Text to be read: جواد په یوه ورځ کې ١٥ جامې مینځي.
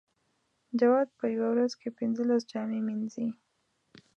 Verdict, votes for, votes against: rejected, 0, 2